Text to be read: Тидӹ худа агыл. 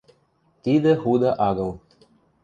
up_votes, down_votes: 2, 0